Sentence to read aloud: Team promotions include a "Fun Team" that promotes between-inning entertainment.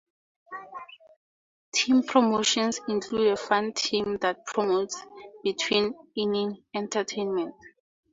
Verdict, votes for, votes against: accepted, 4, 0